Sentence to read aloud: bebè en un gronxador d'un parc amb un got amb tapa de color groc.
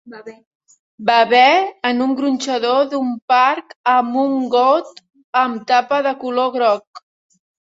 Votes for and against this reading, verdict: 1, 2, rejected